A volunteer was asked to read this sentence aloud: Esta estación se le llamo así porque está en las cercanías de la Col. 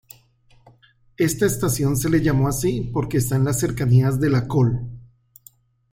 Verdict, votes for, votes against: accepted, 2, 1